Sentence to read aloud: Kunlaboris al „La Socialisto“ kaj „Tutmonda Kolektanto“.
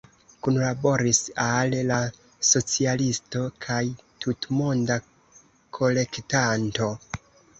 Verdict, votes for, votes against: accepted, 2, 0